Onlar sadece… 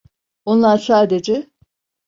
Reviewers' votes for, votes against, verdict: 2, 0, accepted